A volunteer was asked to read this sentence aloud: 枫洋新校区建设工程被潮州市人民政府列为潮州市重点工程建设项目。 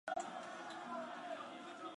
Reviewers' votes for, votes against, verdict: 0, 2, rejected